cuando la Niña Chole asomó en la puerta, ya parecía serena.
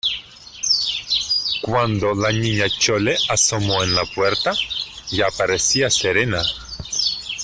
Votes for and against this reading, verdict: 2, 0, accepted